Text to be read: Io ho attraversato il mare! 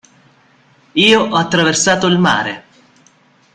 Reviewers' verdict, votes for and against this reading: accepted, 2, 0